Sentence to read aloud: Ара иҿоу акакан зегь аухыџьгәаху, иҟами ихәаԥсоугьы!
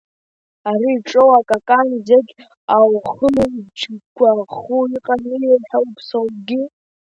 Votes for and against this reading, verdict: 1, 2, rejected